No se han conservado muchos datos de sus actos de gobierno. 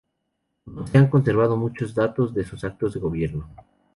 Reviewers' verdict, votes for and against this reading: rejected, 2, 2